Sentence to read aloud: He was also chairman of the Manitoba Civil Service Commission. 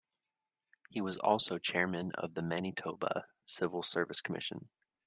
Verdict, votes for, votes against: accepted, 2, 0